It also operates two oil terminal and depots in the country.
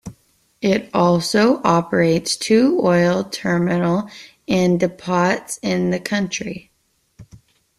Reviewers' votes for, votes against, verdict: 2, 0, accepted